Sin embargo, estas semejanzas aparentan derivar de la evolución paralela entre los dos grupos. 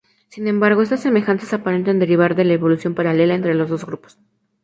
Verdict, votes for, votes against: rejected, 0, 2